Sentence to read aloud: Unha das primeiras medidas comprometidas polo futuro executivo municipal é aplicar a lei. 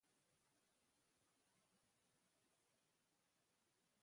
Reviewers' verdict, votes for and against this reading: rejected, 0, 2